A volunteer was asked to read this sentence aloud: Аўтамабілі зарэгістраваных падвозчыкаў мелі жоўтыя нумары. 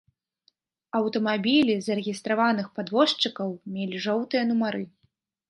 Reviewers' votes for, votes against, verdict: 2, 0, accepted